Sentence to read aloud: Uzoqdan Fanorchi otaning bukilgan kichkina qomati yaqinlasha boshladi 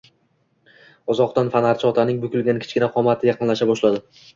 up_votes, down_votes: 2, 0